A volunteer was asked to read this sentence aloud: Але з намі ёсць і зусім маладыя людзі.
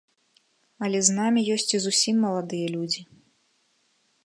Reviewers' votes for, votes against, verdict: 0, 2, rejected